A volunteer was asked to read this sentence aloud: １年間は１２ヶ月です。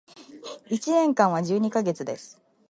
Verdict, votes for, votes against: rejected, 0, 2